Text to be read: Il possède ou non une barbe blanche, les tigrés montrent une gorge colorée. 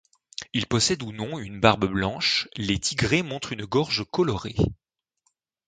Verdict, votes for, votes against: accepted, 2, 0